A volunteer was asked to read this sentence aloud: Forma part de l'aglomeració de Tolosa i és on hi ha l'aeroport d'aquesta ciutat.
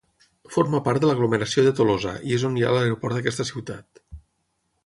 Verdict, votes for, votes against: accepted, 3, 0